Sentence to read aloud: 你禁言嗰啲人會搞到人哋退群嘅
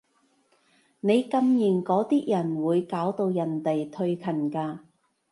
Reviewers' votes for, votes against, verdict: 1, 2, rejected